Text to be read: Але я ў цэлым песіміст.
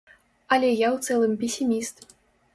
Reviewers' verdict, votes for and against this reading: accepted, 2, 0